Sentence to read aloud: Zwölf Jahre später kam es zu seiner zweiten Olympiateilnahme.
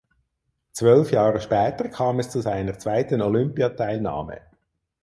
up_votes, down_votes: 4, 0